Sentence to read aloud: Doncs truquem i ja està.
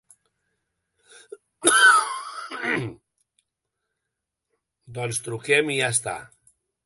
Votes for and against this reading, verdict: 0, 2, rejected